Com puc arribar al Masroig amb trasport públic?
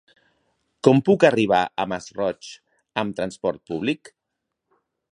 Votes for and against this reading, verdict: 0, 2, rejected